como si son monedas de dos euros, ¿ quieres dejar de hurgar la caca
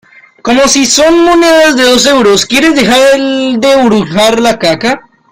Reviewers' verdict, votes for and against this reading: accepted, 2, 1